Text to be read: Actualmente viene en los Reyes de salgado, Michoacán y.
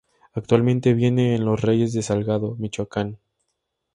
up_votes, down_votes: 2, 4